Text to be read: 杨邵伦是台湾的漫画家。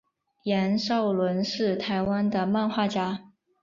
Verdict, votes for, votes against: accepted, 4, 0